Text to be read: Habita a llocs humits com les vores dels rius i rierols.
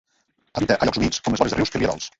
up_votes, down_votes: 0, 2